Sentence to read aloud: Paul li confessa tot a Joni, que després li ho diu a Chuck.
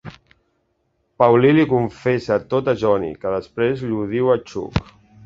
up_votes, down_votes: 1, 2